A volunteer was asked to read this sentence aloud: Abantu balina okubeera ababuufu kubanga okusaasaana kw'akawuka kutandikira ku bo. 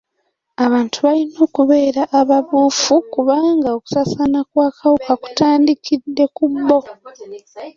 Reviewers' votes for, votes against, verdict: 0, 2, rejected